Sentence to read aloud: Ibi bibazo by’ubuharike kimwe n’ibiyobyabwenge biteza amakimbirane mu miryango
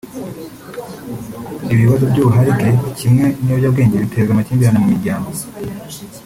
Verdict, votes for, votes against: accepted, 3, 1